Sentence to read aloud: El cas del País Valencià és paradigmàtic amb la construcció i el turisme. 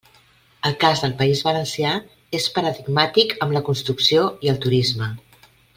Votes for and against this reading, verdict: 3, 0, accepted